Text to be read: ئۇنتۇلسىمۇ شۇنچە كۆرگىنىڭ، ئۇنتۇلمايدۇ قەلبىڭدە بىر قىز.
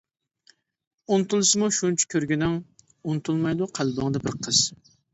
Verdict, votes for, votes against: accepted, 2, 0